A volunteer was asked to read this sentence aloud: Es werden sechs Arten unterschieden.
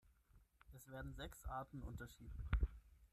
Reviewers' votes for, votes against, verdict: 0, 6, rejected